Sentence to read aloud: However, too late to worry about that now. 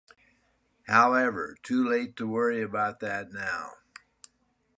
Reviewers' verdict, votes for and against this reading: accepted, 2, 0